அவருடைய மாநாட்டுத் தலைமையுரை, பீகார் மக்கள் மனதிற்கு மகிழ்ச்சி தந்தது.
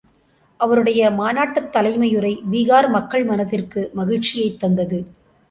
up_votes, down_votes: 0, 2